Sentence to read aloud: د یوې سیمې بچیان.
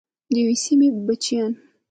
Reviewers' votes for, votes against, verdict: 1, 2, rejected